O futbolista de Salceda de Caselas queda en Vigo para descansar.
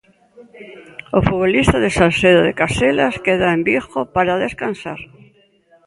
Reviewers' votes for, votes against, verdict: 2, 0, accepted